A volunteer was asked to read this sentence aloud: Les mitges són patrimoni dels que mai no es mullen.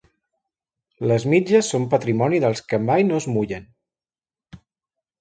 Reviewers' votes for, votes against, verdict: 3, 0, accepted